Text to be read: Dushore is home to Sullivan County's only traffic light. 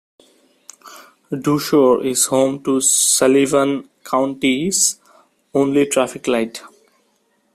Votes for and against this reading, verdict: 2, 1, accepted